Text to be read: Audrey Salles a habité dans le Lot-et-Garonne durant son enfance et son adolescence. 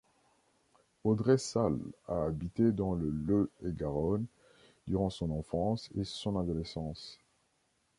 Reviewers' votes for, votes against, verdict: 0, 2, rejected